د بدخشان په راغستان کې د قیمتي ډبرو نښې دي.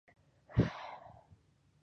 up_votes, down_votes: 2, 1